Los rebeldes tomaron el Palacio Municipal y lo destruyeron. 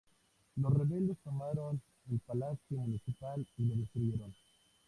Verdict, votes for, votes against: rejected, 0, 2